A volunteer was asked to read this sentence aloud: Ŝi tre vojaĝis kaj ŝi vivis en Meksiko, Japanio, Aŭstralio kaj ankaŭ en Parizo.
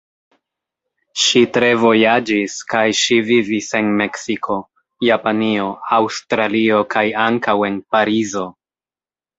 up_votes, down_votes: 2, 0